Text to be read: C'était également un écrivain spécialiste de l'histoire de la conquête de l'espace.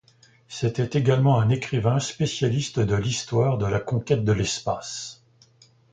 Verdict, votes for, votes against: accepted, 2, 0